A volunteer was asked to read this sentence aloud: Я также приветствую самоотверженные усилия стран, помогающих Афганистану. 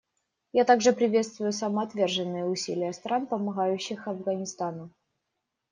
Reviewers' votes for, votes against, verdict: 2, 0, accepted